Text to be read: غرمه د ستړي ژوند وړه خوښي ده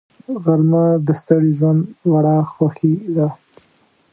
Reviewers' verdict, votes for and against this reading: rejected, 1, 2